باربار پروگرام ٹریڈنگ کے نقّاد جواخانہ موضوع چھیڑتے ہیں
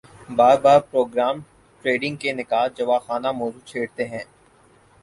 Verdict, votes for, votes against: accepted, 6, 0